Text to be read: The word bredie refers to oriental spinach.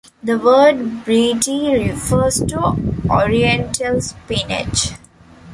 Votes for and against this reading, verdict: 2, 1, accepted